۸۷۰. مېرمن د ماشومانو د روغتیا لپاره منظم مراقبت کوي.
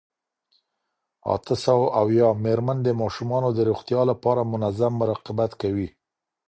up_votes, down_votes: 0, 2